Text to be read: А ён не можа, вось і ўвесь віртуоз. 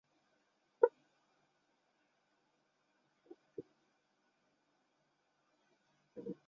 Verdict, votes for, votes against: rejected, 0, 2